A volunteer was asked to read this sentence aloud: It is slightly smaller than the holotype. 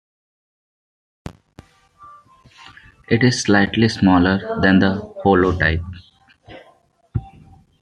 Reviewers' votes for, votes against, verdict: 2, 1, accepted